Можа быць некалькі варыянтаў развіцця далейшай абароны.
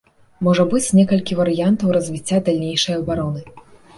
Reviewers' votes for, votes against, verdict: 1, 2, rejected